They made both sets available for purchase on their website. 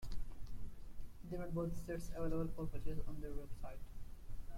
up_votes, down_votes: 0, 2